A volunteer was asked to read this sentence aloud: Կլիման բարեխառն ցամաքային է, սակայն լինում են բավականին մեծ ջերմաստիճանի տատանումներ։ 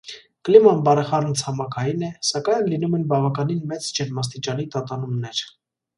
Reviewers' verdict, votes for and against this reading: accepted, 3, 0